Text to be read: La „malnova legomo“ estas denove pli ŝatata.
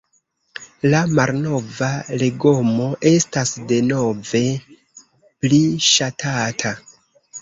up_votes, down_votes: 2, 3